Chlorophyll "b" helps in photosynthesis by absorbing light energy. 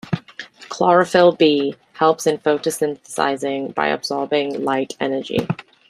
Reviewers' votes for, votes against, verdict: 0, 2, rejected